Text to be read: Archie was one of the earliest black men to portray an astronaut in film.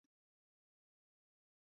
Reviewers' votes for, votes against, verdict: 0, 2, rejected